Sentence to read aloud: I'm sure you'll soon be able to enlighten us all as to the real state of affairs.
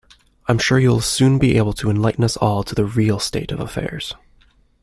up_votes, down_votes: 0, 2